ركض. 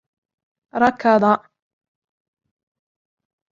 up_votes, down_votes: 2, 0